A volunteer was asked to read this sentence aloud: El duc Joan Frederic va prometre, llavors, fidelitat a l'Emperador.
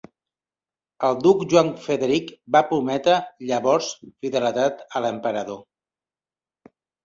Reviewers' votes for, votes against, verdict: 0, 2, rejected